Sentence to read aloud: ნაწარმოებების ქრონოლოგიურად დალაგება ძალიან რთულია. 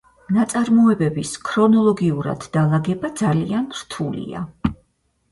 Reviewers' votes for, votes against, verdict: 4, 0, accepted